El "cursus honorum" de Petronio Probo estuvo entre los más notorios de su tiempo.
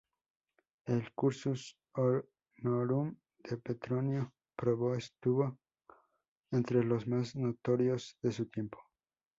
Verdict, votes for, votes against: rejected, 0, 2